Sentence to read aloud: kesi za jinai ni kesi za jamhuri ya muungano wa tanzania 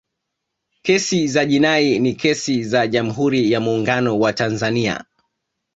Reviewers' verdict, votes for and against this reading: accepted, 2, 0